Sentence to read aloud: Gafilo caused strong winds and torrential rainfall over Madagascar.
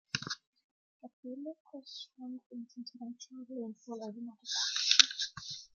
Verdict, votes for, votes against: rejected, 0, 2